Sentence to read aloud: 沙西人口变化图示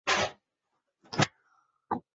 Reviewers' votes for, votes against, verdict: 2, 9, rejected